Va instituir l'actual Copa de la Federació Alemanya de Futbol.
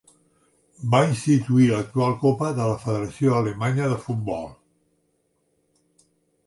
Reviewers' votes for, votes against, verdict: 3, 0, accepted